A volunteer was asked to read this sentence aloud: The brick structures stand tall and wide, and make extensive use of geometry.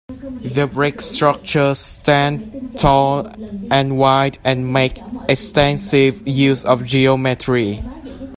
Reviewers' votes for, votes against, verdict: 2, 0, accepted